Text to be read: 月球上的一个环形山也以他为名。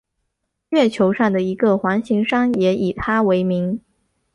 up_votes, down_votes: 4, 0